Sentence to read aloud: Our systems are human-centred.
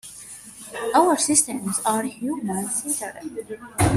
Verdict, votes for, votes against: rejected, 1, 2